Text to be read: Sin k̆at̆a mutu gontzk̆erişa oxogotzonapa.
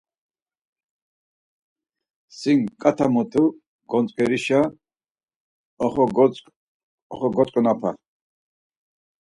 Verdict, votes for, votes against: rejected, 2, 4